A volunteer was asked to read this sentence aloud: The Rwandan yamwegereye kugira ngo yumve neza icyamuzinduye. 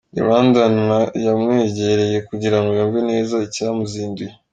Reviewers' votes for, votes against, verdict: 1, 2, rejected